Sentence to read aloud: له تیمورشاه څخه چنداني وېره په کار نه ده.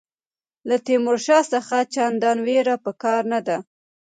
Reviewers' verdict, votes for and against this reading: rejected, 1, 2